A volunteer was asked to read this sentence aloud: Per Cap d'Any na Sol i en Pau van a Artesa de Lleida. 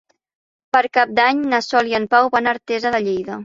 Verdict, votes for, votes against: accepted, 3, 0